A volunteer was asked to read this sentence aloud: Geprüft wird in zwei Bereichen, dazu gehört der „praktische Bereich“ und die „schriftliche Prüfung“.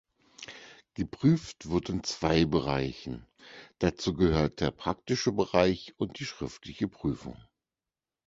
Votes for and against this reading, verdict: 4, 0, accepted